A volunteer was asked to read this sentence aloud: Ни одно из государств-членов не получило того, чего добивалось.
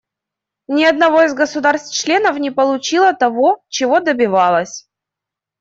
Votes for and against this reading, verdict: 0, 2, rejected